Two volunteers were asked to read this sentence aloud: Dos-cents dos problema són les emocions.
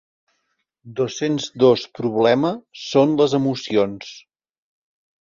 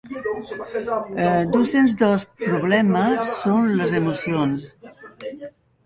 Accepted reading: first